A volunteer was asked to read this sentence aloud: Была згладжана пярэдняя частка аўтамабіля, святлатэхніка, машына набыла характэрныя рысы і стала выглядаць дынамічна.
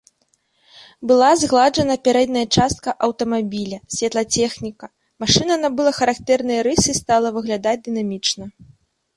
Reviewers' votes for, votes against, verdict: 2, 3, rejected